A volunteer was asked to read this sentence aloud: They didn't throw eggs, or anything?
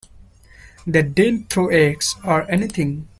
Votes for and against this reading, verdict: 2, 0, accepted